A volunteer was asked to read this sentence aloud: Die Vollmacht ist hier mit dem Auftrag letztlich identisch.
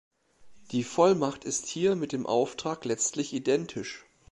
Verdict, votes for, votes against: accepted, 2, 0